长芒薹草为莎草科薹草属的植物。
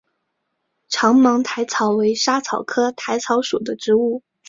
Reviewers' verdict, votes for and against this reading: accepted, 4, 1